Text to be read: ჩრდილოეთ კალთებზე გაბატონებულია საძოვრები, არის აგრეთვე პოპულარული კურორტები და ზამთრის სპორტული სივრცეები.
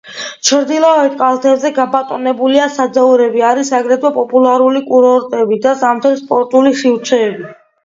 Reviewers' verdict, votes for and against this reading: rejected, 1, 2